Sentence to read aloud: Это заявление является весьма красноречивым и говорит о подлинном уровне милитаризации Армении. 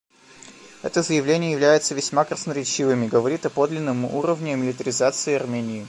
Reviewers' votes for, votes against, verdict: 2, 0, accepted